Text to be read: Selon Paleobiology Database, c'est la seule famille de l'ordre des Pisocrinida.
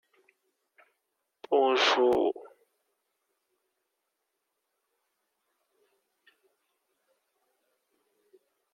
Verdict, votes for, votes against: rejected, 0, 2